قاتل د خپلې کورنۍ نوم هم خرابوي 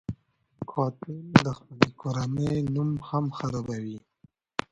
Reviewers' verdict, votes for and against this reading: accepted, 2, 0